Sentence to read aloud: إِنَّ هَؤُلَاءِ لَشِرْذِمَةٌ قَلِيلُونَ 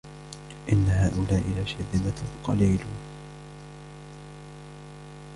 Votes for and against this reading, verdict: 1, 2, rejected